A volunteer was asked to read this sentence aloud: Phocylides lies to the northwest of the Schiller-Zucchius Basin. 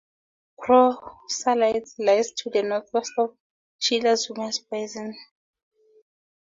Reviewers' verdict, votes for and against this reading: accepted, 2, 0